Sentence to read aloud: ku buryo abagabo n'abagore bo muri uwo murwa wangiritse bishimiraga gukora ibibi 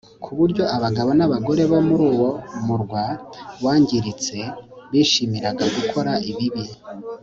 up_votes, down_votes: 4, 0